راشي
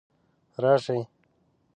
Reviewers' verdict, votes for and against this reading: accepted, 2, 1